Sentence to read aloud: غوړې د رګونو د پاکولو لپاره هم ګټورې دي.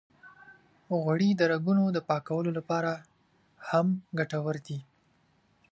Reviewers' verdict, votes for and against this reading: accepted, 2, 1